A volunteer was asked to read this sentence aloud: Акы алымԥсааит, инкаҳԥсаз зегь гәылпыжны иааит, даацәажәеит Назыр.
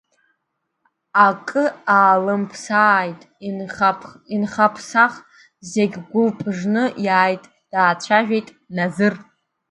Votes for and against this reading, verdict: 2, 0, accepted